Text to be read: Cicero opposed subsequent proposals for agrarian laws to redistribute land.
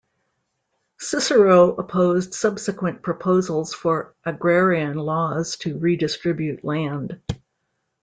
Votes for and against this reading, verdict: 2, 0, accepted